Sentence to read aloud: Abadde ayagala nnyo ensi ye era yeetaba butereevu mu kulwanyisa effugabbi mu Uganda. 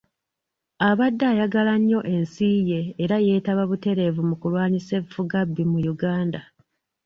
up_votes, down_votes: 2, 0